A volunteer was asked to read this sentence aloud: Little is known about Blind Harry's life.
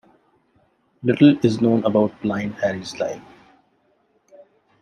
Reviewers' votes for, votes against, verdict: 2, 0, accepted